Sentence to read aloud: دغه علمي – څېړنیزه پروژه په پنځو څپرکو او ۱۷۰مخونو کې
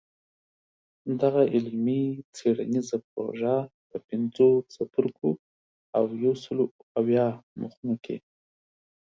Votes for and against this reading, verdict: 0, 2, rejected